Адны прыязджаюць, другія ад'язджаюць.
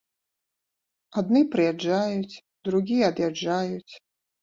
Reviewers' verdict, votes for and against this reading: rejected, 0, 2